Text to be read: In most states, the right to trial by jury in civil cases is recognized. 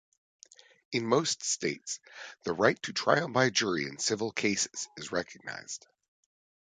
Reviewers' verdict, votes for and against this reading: accepted, 2, 0